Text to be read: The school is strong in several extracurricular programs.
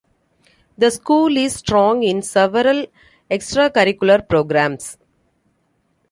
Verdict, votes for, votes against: accepted, 2, 0